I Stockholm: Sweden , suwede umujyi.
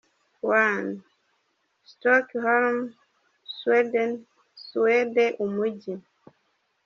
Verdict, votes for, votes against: rejected, 1, 2